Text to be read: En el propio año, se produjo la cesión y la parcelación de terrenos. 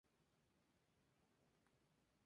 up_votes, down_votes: 0, 2